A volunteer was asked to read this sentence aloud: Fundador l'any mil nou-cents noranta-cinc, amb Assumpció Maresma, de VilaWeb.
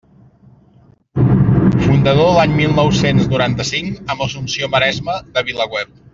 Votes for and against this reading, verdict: 2, 0, accepted